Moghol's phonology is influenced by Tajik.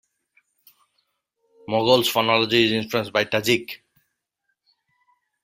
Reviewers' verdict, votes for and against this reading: rejected, 1, 2